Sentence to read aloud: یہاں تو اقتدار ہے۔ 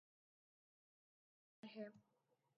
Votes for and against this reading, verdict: 1, 2, rejected